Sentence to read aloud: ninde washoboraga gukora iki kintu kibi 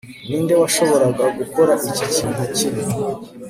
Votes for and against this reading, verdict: 2, 0, accepted